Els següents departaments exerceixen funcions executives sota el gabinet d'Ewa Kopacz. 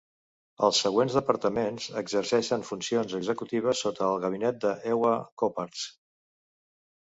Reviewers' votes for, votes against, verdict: 1, 2, rejected